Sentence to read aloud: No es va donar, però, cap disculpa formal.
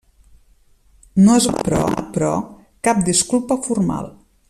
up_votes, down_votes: 0, 2